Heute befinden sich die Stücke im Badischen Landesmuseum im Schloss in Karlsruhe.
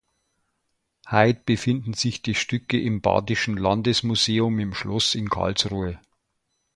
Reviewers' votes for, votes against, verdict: 0, 2, rejected